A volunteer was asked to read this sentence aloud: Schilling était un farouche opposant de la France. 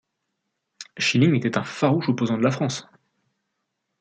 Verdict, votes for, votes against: accepted, 2, 1